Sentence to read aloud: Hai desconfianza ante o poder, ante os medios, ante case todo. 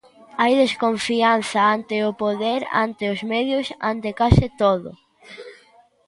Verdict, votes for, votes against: accepted, 2, 0